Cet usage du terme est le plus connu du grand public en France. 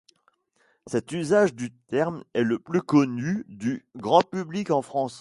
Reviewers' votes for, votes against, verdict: 2, 0, accepted